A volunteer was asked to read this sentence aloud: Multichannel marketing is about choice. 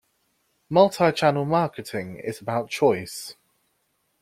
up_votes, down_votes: 2, 0